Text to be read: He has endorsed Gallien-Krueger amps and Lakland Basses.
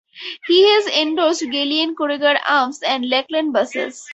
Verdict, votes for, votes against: accepted, 2, 0